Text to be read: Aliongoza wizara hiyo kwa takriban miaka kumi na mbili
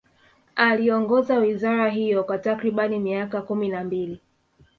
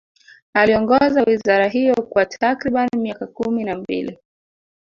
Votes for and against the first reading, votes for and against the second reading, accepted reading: 2, 0, 1, 2, first